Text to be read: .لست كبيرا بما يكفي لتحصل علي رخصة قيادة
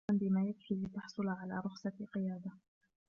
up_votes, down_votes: 1, 2